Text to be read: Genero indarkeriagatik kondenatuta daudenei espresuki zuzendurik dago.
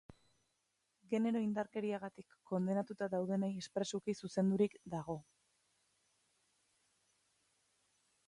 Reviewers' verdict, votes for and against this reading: accepted, 2, 0